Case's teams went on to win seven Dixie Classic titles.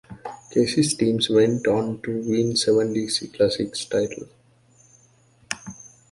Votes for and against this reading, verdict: 1, 2, rejected